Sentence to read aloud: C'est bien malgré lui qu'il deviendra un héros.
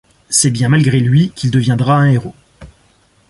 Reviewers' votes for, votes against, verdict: 2, 0, accepted